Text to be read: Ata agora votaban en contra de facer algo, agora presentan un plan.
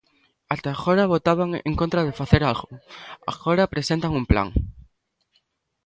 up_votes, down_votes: 2, 0